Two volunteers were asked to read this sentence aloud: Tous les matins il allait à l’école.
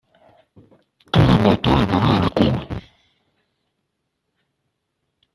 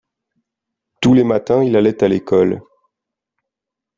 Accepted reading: second